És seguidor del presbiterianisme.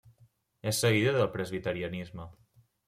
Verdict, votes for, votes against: accepted, 2, 0